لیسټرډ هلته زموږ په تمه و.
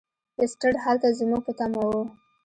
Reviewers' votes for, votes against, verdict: 1, 2, rejected